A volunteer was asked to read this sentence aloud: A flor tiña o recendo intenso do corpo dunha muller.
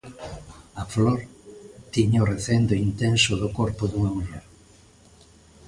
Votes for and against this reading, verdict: 2, 0, accepted